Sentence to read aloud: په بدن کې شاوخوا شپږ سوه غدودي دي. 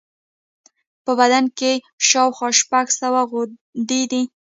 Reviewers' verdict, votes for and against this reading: rejected, 0, 2